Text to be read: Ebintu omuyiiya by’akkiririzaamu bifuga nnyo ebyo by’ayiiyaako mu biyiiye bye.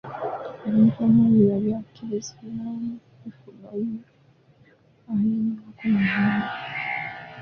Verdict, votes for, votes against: rejected, 0, 2